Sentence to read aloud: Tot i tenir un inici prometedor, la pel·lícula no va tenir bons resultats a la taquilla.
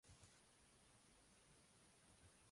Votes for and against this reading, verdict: 0, 2, rejected